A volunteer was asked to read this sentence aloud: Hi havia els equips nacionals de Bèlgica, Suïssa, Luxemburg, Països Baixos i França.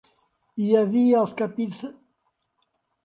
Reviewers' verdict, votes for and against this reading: rejected, 0, 2